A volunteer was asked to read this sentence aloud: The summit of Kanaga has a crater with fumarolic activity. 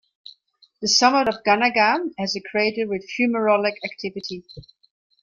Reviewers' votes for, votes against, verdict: 1, 2, rejected